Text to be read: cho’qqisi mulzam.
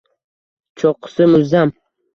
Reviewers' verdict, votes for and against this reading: rejected, 1, 2